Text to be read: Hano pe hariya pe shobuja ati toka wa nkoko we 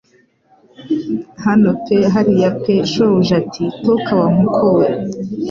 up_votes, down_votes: 2, 0